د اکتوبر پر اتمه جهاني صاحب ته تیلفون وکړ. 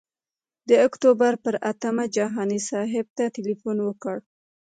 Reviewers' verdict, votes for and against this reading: rejected, 1, 2